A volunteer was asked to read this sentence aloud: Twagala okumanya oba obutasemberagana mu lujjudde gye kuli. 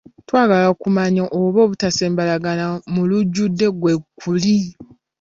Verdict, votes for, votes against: rejected, 0, 3